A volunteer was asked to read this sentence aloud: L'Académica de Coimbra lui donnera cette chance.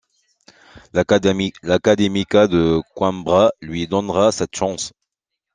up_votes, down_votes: 0, 2